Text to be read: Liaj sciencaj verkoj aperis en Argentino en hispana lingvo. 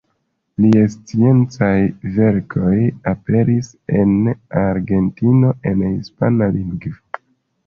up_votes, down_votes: 2, 1